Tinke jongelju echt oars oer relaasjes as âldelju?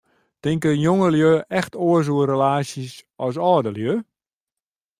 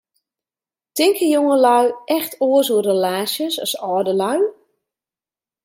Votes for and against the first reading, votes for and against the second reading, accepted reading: 2, 0, 1, 2, first